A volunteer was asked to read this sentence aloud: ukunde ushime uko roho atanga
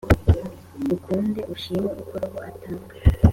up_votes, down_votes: 2, 0